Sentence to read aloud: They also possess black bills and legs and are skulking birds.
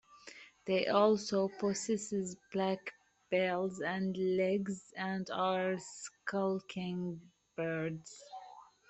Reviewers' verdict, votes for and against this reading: rejected, 0, 2